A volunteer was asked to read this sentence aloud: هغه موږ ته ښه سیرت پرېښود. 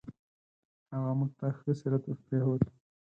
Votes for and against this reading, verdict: 0, 4, rejected